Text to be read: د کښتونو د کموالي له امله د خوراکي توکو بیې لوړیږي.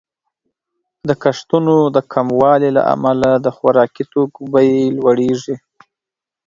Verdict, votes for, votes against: accepted, 2, 0